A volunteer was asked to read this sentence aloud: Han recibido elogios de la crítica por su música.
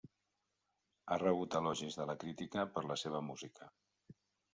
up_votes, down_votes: 0, 2